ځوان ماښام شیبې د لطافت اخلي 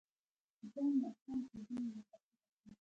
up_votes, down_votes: 1, 2